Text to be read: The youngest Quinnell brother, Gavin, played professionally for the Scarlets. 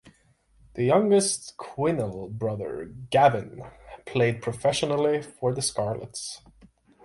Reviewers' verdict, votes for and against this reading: accepted, 6, 0